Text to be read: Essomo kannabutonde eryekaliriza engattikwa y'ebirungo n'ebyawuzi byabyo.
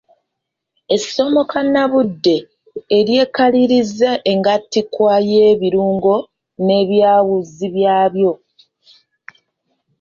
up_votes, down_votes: 1, 2